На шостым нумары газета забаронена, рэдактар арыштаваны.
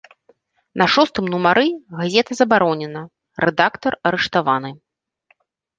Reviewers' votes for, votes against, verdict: 3, 4, rejected